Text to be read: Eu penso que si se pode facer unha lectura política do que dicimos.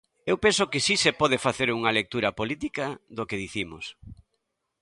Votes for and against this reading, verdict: 2, 0, accepted